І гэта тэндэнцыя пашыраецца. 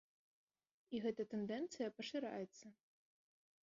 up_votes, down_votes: 1, 2